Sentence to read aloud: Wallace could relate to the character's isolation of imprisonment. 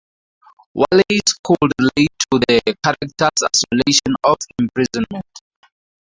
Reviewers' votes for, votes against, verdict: 2, 0, accepted